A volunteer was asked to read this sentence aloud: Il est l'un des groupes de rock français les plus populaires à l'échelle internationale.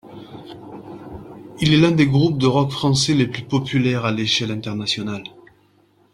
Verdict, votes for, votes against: accepted, 2, 0